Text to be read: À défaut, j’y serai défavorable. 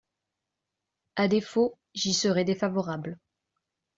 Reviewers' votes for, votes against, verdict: 2, 0, accepted